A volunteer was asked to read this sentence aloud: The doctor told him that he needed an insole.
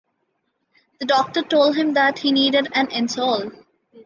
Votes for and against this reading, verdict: 2, 0, accepted